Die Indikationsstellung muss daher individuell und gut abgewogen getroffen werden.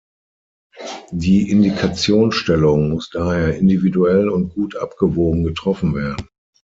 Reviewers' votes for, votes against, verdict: 3, 6, rejected